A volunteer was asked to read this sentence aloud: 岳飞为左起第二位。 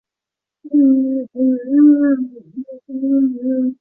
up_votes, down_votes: 0, 2